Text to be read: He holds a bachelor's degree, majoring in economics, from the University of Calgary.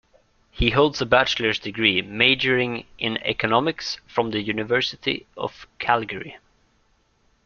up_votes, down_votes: 2, 0